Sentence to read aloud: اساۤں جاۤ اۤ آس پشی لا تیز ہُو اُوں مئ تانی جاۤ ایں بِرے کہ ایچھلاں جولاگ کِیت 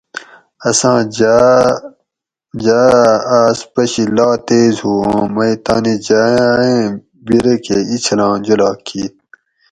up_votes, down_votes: 2, 2